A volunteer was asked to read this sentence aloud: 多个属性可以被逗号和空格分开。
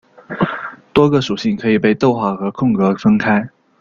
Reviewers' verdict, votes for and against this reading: rejected, 1, 2